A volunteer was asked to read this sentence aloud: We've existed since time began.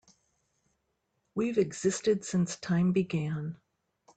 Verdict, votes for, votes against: accepted, 2, 0